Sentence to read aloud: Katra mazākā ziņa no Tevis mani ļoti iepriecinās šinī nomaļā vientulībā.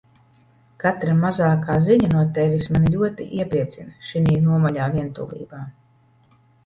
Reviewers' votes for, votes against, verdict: 1, 2, rejected